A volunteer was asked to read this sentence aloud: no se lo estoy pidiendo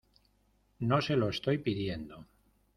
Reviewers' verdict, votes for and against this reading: accepted, 2, 0